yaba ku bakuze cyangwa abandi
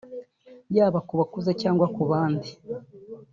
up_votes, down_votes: 1, 2